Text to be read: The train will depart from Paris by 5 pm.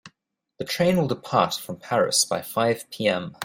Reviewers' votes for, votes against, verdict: 0, 2, rejected